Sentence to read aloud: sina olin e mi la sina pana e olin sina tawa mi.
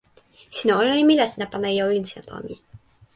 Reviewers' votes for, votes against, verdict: 0, 2, rejected